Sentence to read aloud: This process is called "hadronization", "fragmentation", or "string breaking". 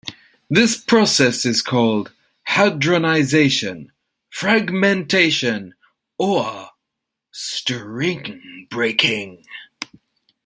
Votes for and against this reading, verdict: 2, 1, accepted